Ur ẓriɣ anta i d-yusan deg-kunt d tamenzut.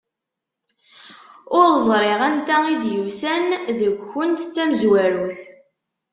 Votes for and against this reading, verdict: 0, 2, rejected